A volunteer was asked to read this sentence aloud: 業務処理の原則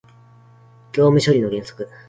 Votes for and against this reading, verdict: 2, 0, accepted